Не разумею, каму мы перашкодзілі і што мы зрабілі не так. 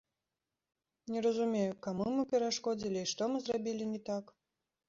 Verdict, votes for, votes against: accepted, 2, 0